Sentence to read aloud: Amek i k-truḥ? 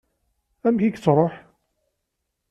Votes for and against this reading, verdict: 0, 2, rejected